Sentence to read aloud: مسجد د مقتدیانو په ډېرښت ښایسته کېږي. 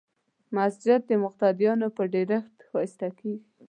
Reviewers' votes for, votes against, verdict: 1, 2, rejected